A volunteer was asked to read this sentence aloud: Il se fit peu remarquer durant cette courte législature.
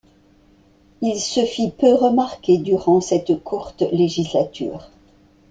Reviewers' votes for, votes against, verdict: 2, 0, accepted